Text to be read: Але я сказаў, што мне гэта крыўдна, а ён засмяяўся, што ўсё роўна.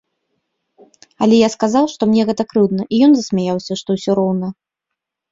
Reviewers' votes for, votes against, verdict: 1, 2, rejected